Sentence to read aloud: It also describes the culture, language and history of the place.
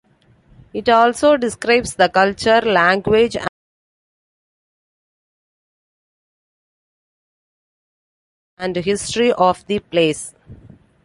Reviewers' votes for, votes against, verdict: 1, 2, rejected